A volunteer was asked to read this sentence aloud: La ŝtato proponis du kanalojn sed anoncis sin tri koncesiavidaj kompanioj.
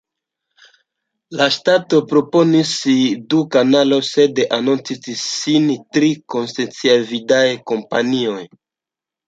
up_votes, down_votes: 1, 2